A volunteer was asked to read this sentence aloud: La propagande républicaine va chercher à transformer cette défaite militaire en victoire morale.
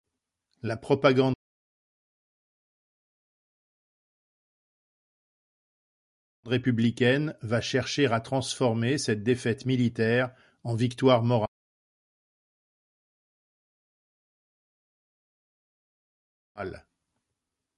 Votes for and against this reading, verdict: 0, 2, rejected